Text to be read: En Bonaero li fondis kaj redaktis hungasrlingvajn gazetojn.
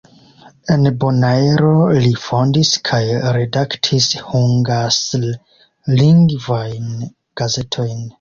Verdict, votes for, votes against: accepted, 2, 0